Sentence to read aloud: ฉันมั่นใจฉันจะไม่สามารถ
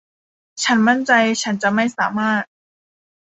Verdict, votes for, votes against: accepted, 2, 0